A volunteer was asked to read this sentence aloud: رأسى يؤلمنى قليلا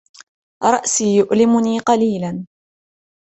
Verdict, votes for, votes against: accepted, 2, 0